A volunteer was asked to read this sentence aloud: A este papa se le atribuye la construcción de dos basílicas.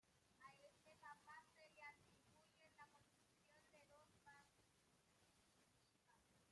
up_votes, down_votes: 0, 2